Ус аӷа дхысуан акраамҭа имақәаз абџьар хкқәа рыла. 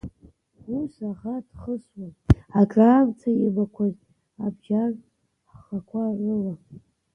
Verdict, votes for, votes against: rejected, 0, 2